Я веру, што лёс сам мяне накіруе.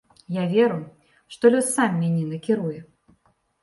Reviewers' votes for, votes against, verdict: 2, 0, accepted